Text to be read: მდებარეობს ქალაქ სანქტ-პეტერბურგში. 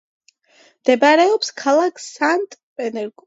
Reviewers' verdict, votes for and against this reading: rejected, 1, 2